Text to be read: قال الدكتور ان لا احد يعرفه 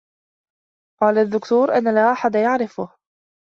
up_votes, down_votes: 2, 0